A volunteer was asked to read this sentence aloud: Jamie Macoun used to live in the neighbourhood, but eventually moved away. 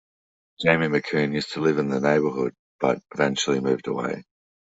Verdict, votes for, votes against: accepted, 2, 0